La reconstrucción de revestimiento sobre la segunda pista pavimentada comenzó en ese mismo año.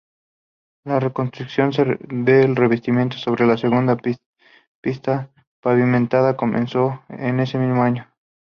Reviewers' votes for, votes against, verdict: 0, 2, rejected